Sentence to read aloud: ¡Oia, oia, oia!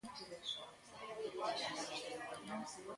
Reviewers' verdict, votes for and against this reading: rejected, 0, 2